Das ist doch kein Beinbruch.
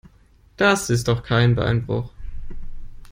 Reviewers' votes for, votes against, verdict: 2, 0, accepted